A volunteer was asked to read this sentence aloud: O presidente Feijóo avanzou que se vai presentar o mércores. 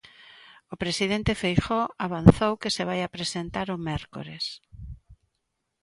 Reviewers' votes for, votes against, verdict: 1, 2, rejected